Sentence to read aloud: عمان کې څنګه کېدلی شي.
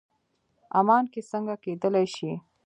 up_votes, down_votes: 1, 2